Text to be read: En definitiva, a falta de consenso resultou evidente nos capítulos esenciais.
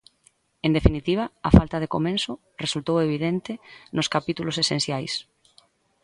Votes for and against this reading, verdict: 0, 4, rejected